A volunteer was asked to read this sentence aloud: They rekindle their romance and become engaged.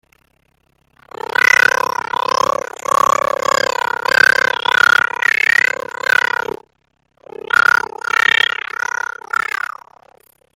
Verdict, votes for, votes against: rejected, 0, 2